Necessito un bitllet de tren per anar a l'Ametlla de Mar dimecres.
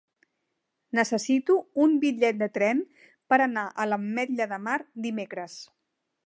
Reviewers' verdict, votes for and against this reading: accepted, 3, 0